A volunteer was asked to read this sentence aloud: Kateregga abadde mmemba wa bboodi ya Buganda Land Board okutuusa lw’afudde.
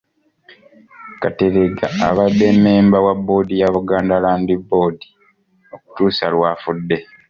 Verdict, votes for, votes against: accepted, 2, 0